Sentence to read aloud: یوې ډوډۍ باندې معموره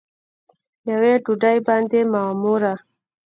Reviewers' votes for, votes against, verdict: 1, 2, rejected